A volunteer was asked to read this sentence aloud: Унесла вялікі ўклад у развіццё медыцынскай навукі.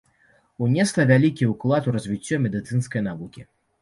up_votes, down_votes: 3, 0